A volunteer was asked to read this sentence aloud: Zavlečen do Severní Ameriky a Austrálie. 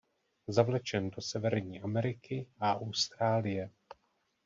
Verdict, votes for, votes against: accepted, 2, 0